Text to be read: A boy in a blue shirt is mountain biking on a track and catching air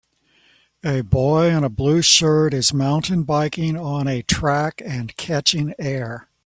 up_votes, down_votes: 2, 0